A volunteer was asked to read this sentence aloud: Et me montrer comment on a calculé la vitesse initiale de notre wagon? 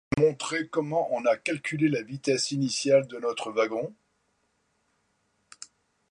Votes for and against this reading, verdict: 1, 2, rejected